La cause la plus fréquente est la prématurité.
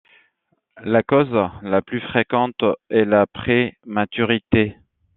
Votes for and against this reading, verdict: 1, 2, rejected